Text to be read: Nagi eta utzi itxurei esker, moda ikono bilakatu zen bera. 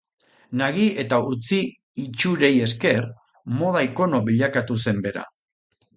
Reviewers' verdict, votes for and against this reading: accepted, 2, 0